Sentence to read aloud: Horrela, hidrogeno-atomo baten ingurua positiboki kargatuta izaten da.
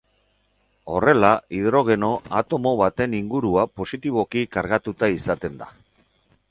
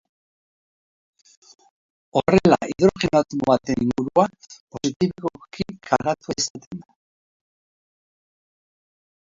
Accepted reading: first